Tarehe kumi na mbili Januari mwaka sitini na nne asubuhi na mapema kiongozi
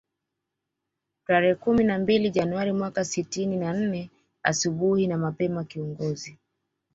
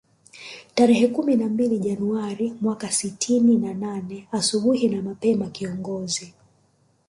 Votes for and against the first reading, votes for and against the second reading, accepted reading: 2, 1, 0, 2, first